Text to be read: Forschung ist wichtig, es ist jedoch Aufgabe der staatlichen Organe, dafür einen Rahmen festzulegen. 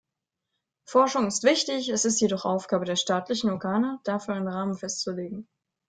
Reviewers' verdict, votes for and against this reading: accepted, 2, 0